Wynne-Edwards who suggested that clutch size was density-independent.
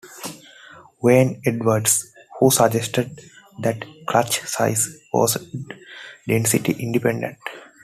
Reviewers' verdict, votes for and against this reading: accepted, 2, 0